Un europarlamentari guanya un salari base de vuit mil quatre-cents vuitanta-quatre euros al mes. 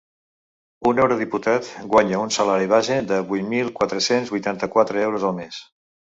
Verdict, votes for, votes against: rejected, 1, 2